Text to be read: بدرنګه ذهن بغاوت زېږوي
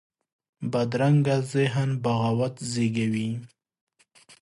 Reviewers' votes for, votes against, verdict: 2, 0, accepted